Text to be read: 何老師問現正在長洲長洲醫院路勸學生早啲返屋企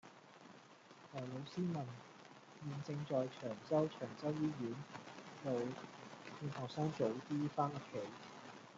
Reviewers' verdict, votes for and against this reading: rejected, 0, 2